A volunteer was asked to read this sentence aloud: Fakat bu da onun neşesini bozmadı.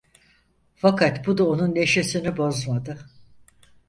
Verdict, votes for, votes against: accepted, 4, 0